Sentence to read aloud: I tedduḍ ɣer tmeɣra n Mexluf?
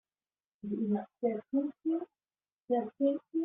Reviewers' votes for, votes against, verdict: 0, 2, rejected